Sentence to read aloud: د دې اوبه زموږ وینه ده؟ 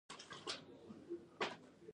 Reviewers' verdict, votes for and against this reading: rejected, 0, 2